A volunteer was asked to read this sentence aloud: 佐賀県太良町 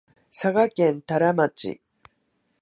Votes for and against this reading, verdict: 2, 0, accepted